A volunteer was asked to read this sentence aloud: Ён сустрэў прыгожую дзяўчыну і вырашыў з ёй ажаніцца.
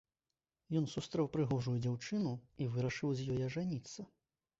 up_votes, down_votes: 2, 0